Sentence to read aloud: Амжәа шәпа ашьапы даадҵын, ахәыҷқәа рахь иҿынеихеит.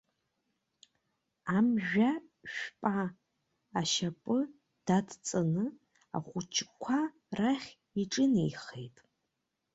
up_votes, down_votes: 1, 2